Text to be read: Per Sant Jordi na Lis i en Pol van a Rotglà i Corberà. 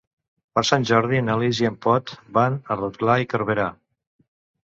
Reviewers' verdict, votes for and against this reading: rejected, 0, 2